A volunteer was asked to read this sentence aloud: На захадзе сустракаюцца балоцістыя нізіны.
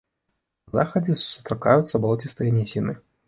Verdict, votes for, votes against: rejected, 0, 2